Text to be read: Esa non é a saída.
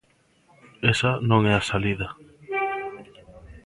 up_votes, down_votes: 0, 2